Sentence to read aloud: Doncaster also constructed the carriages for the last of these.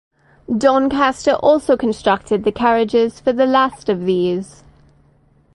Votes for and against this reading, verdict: 4, 0, accepted